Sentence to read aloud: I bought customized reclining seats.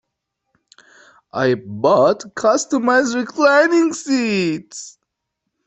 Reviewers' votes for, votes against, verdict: 2, 1, accepted